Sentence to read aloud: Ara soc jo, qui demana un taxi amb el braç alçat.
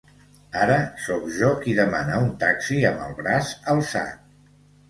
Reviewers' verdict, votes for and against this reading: accepted, 2, 0